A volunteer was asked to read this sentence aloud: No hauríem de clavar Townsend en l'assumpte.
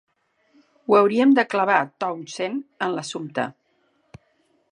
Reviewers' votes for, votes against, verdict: 1, 2, rejected